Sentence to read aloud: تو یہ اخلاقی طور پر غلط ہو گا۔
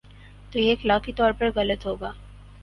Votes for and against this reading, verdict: 10, 0, accepted